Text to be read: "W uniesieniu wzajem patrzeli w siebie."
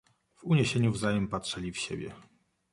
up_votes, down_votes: 2, 0